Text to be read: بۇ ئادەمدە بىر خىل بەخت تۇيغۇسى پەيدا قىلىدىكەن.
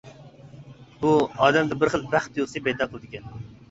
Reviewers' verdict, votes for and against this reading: rejected, 1, 2